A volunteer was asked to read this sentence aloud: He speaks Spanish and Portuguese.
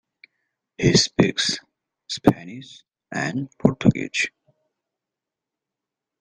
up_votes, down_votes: 1, 2